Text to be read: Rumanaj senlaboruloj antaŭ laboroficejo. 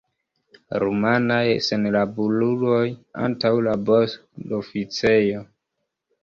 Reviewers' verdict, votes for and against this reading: rejected, 1, 2